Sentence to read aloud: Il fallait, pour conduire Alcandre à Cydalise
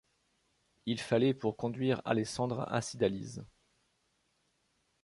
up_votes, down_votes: 1, 2